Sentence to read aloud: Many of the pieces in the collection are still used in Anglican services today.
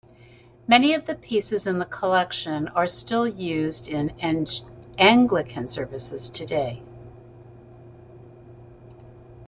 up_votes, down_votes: 1, 4